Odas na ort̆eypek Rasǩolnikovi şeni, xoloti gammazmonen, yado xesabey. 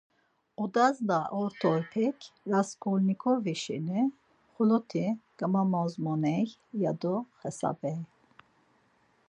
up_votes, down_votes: 4, 2